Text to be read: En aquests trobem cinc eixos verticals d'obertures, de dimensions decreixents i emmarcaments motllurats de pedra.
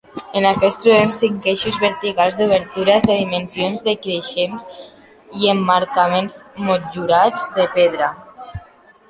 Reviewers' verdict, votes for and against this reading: rejected, 2, 3